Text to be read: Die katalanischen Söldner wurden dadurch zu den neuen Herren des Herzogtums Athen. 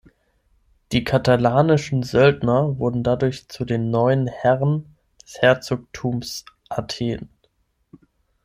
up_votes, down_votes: 0, 6